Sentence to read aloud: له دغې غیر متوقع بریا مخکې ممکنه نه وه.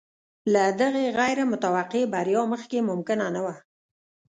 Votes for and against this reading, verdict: 1, 2, rejected